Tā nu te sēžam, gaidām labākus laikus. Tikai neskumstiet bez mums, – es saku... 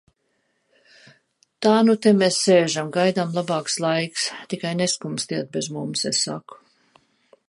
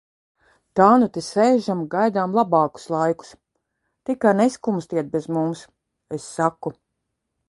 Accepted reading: second